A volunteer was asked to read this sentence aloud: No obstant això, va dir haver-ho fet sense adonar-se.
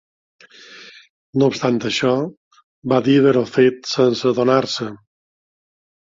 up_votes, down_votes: 2, 0